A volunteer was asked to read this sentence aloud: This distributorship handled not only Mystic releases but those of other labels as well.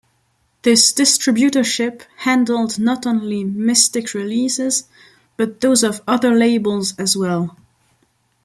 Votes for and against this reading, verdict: 2, 0, accepted